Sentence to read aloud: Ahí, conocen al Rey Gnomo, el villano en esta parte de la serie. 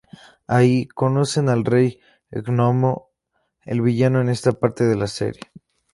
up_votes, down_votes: 2, 0